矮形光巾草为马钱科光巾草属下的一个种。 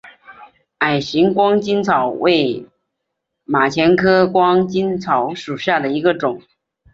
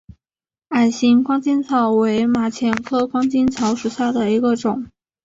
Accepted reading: first